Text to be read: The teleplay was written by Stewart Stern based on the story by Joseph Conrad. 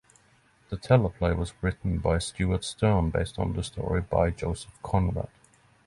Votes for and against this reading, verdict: 6, 0, accepted